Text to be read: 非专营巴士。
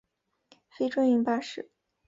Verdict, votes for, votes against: accepted, 6, 0